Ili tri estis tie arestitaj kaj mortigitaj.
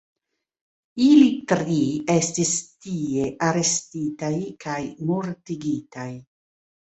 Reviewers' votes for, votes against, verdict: 1, 2, rejected